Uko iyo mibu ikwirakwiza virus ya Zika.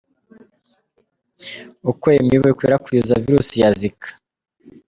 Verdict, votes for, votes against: accepted, 2, 0